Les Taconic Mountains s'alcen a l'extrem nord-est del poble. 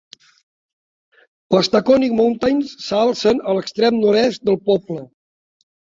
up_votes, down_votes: 4, 0